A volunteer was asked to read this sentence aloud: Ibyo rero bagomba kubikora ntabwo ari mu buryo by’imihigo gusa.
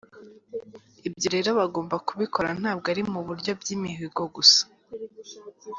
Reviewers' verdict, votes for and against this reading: accepted, 2, 0